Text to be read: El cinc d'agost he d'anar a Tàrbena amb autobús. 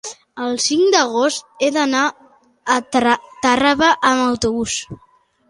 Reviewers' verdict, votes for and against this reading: rejected, 1, 4